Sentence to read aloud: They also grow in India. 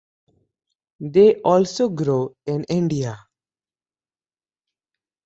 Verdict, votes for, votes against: accepted, 2, 0